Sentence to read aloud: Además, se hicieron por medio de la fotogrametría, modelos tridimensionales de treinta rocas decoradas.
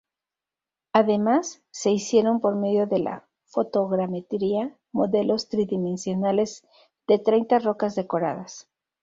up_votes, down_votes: 0, 2